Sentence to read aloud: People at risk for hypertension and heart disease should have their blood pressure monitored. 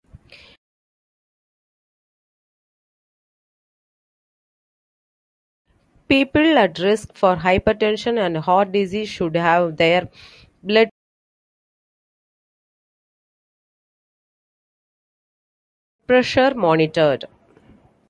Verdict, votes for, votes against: rejected, 0, 2